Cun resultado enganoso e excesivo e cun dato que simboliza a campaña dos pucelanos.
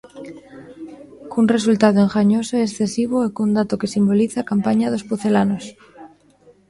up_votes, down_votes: 1, 2